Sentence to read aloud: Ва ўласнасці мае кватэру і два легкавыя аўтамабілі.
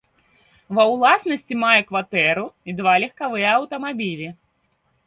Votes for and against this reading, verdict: 2, 0, accepted